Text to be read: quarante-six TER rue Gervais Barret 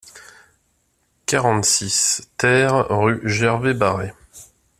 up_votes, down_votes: 2, 1